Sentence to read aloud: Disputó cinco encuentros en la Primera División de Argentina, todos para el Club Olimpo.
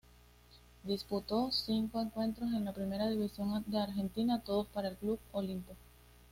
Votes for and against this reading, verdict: 2, 0, accepted